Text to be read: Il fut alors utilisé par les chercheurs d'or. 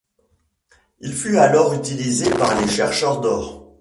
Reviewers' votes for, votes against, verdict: 2, 1, accepted